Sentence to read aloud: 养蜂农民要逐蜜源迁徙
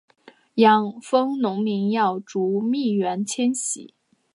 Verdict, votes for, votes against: accepted, 2, 1